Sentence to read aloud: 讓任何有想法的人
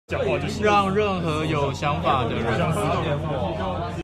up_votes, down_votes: 1, 2